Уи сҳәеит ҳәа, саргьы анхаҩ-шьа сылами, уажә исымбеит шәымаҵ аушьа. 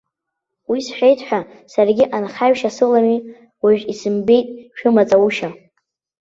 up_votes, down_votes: 1, 2